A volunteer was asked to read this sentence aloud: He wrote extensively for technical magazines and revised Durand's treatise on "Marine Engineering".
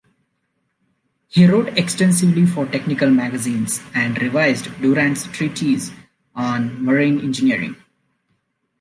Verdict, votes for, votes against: accepted, 2, 0